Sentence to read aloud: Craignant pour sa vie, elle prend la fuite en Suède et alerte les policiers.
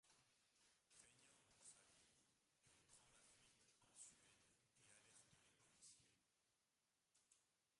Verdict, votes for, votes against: rejected, 0, 2